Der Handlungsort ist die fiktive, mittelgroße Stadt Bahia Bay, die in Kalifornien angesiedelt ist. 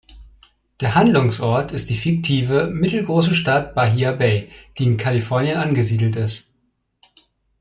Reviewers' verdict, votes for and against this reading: accepted, 2, 0